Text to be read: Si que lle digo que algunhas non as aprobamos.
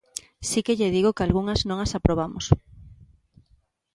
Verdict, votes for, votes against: accepted, 2, 0